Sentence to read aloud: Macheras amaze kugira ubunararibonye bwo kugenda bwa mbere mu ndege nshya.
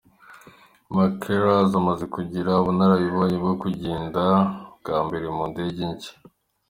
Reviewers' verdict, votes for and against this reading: accepted, 2, 0